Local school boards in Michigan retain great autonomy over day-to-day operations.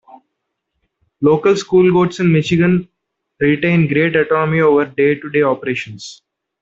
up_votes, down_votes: 2, 0